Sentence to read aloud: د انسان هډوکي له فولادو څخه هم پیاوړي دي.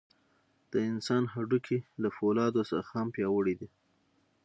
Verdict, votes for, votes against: accepted, 6, 0